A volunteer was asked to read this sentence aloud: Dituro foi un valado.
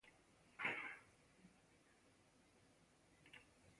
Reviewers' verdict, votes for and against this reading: rejected, 0, 2